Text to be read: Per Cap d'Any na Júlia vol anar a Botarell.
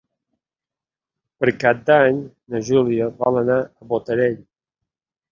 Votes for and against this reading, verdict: 3, 0, accepted